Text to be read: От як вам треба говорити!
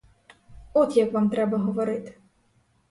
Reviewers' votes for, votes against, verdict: 4, 0, accepted